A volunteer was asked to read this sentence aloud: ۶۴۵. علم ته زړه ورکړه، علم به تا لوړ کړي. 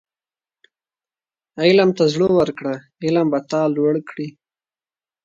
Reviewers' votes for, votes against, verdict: 0, 2, rejected